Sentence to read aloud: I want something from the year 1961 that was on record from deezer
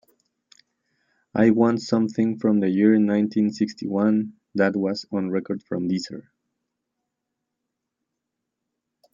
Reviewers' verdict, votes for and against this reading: rejected, 0, 2